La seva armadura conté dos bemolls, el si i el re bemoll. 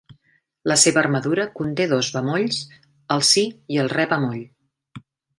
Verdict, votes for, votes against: accepted, 2, 0